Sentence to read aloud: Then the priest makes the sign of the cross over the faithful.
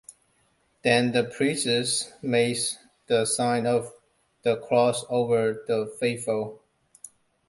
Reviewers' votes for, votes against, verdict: 0, 2, rejected